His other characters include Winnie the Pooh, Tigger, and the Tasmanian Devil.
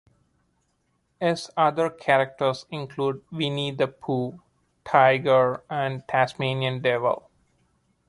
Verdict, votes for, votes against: rejected, 0, 2